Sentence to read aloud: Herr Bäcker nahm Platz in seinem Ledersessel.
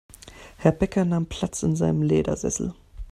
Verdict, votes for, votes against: accepted, 2, 0